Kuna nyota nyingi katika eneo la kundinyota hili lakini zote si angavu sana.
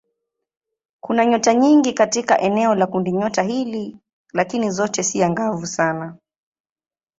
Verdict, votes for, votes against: accepted, 3, 0